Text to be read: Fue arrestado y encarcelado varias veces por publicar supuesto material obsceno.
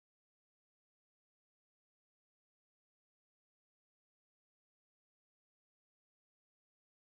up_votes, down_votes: 0, 2